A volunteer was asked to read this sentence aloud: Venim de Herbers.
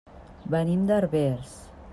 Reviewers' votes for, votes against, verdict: 2, 0, accepted